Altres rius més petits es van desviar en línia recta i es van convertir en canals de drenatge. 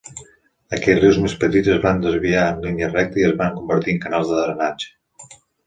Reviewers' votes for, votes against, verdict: 1, 2, rejected